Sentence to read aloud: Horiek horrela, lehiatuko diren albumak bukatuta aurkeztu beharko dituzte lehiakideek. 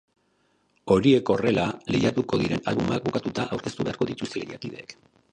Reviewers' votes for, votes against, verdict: 1, 2, rejected